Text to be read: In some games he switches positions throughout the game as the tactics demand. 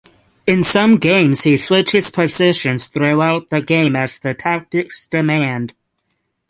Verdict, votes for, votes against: accepted, 12, 0